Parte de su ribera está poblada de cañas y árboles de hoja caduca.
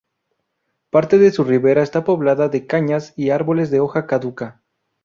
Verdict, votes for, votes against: accepted, 2, 0